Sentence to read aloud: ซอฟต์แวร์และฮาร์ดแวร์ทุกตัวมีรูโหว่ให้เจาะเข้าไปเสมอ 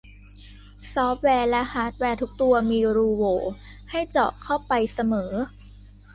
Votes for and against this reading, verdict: 2, 0, accepted